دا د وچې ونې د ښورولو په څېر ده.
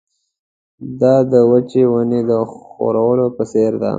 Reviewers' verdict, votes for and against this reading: accepted, 2, 0